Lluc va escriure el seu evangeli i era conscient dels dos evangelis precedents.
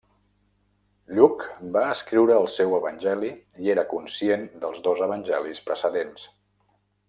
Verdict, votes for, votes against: accepted, 3, 0